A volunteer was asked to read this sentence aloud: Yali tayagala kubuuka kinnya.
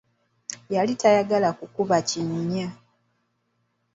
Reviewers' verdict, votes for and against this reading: rejected, 1, 2